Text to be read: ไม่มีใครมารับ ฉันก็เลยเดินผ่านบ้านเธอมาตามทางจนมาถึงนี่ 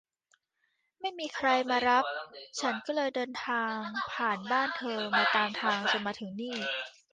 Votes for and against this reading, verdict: 0, 2, rejected